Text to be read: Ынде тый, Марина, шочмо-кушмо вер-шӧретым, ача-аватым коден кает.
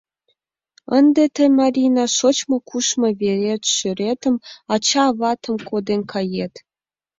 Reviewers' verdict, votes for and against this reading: rejected, 0, 2